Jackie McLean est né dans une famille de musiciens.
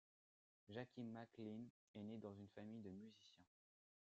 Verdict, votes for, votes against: rejected, 1, 2